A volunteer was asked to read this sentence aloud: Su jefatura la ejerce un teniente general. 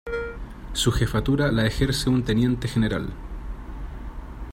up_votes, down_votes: 1, 2